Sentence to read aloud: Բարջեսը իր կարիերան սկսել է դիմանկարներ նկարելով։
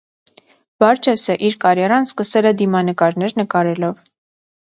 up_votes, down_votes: 2, 0